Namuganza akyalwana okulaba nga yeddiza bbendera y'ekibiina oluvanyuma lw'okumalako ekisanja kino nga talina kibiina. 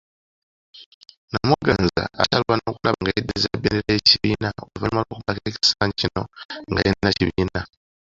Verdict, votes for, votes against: accepted, 2, 1